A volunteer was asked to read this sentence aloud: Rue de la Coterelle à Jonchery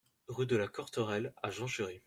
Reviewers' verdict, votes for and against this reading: rejected, 1, 2